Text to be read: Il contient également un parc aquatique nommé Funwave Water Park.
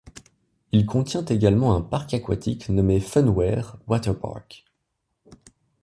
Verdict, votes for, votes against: rejected, 0, 2